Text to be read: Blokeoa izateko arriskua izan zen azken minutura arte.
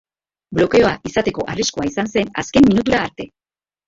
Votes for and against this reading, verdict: 0, 3, rejected